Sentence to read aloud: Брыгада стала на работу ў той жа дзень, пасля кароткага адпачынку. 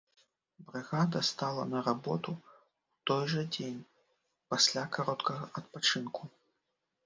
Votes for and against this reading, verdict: 0, 3, rejected